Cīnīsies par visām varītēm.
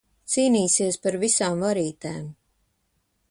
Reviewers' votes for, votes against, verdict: 2, 0, accepted